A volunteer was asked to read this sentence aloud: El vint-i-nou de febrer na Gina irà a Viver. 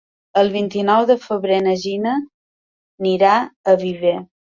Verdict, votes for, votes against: rejected, 0, 2